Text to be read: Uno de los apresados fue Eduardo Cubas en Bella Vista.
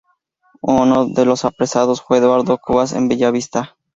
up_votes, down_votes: 0, 2